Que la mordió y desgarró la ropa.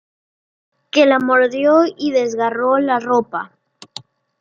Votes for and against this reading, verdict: 2, 0, accepted